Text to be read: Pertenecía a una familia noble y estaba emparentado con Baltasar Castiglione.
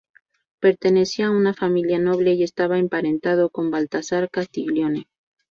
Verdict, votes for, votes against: rejected, 2, 2